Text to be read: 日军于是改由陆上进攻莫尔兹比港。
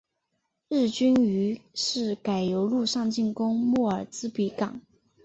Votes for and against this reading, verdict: 4, 1, accepted